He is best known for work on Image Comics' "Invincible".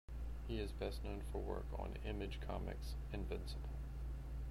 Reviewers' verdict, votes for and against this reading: rejected, 1, 2